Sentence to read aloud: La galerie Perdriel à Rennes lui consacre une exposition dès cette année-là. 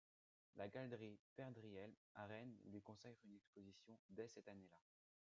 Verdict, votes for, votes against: rejected, 0, 2